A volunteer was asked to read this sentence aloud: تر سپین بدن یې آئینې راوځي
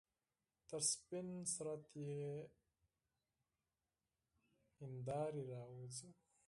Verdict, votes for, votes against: accepted, 4, 2